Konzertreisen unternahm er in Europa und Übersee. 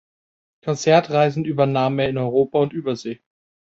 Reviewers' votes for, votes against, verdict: 1, 2, rejected